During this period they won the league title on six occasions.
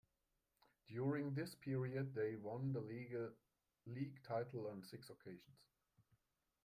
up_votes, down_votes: 1, 2